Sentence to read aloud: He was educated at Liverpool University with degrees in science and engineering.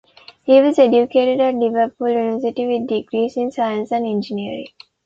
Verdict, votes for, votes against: accepted, 2, 0